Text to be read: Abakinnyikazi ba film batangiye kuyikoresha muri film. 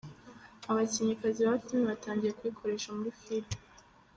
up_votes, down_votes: 1, 2